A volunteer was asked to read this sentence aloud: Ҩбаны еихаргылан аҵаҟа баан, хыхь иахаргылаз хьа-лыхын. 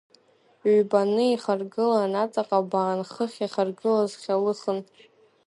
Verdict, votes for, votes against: accepted, 2, 0